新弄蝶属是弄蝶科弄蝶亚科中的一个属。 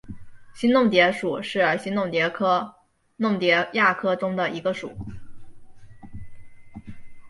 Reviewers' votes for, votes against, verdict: 1, 2, rejected